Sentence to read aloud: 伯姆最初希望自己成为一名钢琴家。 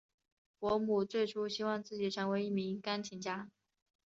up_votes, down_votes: 3, 0